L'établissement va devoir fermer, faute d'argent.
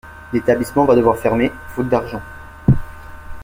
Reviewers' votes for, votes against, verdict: 2, 0, accepted